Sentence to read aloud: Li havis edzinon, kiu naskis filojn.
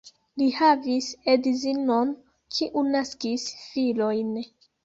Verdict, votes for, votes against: accepted, 2, 0